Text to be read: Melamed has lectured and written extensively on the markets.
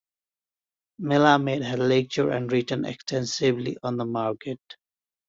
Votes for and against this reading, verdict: 2, 3, rejected